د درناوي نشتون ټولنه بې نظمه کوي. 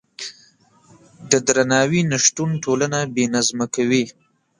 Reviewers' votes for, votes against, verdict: 1, 2, rejected